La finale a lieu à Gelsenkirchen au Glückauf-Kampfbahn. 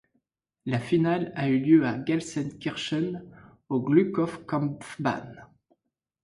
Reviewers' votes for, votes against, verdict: 1, 2, rejected